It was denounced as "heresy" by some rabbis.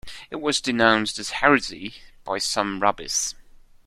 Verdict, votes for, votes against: rejected, 1, 2